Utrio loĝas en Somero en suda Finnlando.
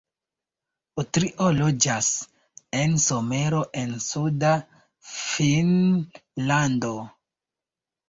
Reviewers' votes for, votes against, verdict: 2, 1, accepted